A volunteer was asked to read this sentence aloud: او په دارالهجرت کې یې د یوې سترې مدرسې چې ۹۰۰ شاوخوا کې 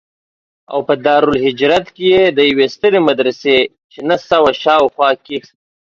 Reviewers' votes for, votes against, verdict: 0, 2, rejected